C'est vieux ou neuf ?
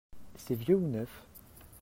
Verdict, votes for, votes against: accepted, 2, 1